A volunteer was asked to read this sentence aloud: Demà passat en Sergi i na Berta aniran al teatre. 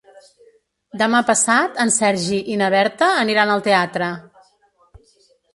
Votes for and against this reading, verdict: 0, 2, rejected